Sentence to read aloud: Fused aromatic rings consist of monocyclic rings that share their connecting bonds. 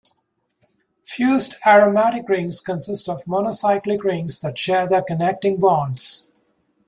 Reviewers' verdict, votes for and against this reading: accepted, 2, 0